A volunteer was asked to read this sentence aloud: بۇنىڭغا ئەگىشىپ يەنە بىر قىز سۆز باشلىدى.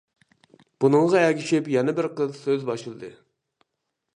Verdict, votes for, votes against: accepted, 2, 0